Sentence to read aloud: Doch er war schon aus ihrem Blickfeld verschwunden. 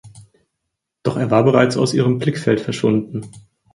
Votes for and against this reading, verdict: 0, 4, rejected